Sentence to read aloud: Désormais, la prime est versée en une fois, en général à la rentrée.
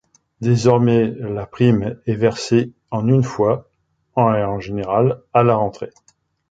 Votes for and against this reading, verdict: 0, 2, rejected